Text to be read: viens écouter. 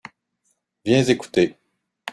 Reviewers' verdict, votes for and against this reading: rejected, 1, 2